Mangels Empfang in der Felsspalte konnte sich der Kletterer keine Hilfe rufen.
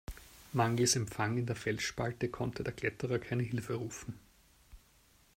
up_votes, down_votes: 1, 2